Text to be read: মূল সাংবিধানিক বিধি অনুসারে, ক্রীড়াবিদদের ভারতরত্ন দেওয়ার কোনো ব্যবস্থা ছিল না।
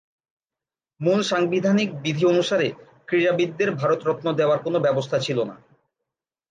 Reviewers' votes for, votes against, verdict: 5, 0, accepted